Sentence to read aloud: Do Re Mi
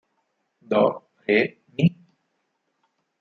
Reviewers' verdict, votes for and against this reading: rejected, 2, 4